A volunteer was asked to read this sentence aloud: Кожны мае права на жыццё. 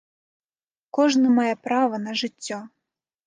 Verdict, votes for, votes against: accepted, 3, 0